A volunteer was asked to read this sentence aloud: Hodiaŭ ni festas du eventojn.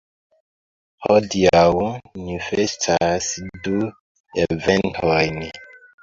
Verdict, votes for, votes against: accepted, 2, 0